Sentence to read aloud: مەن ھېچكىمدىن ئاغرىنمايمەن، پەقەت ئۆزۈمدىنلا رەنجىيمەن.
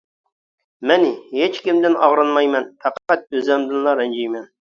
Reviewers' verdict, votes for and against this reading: rejected, 0, 2